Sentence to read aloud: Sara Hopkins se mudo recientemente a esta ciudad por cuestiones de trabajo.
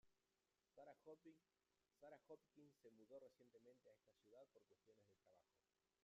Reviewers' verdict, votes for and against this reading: rejected, 1, 2